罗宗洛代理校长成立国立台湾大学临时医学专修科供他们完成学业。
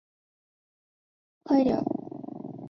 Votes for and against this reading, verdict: 1, 2, rejected